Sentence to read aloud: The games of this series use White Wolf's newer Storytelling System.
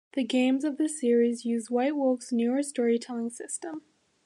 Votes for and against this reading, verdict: 2, 0, accepted